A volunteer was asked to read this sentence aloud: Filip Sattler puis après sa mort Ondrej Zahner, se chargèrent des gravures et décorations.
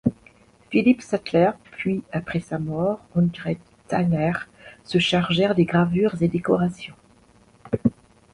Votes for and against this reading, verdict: 1, 2, rejected